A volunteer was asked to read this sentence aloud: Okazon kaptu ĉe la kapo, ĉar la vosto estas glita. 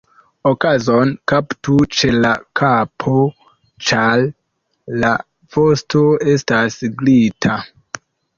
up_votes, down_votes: 1, 2